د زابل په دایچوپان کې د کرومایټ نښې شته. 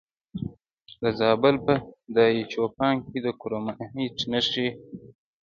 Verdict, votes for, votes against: rejected, 0, 2